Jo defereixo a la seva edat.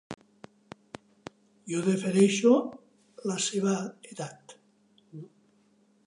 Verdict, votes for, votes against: rejected, 1, 2